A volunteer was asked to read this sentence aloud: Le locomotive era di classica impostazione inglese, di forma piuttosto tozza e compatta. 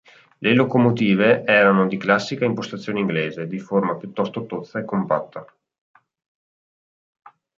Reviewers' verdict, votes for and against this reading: rejected, 0, 2